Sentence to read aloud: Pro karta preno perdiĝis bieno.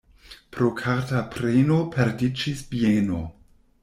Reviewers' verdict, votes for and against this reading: accepted, 2, 0